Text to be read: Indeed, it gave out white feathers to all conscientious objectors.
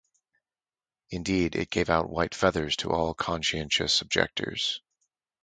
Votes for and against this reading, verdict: 4, 0, accepted